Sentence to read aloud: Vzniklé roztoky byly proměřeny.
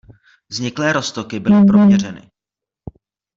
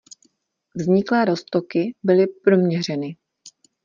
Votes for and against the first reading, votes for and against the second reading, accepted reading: 1, 2, 2, 0, second